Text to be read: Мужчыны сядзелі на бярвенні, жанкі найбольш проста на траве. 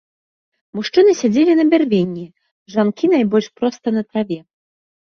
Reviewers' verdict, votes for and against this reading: rejected, 1, 2